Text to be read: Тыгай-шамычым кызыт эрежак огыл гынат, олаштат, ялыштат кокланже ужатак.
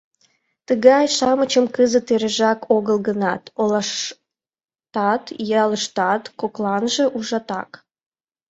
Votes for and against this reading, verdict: 2, 3, rejected